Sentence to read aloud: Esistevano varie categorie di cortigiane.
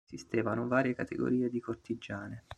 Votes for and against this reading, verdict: 0, 2, rejected